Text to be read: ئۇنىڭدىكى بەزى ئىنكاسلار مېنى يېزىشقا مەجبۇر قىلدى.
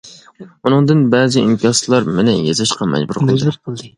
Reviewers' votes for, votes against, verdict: 0, 2, rejected